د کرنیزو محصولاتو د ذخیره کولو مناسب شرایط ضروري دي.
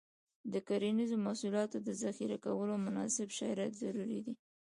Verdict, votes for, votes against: accepted, 2, 1